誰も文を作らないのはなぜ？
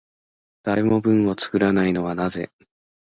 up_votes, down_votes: 2, 0